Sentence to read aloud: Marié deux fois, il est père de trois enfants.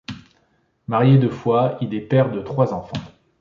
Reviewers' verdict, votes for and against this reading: accepted, 2, 0